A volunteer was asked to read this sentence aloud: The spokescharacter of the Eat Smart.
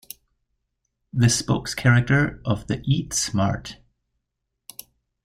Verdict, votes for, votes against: accepted, 2, 1